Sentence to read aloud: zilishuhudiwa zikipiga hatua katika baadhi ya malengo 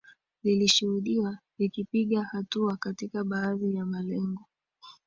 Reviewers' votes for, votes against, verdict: 2, 1, accepted